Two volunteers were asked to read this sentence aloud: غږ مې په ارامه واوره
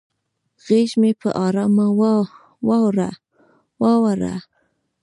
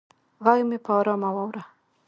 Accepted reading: second